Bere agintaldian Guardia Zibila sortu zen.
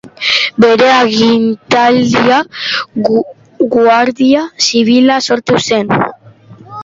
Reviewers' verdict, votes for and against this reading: rejected, 1, 2